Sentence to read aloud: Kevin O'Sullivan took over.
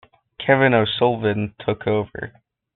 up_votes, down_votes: 2, 0